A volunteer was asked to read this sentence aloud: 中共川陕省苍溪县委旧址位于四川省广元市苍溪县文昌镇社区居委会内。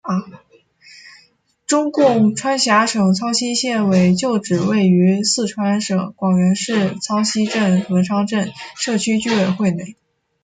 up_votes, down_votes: 0, 2